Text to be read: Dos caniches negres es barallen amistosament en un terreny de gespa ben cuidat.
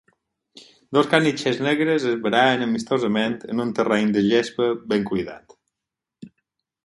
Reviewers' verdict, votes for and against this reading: accepted, 4, 0